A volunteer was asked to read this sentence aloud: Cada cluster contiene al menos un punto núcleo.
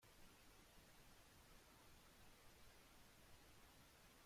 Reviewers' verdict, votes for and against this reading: rejected, 0, 2